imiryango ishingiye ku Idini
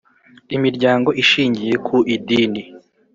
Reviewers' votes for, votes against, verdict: 3, 0, accepted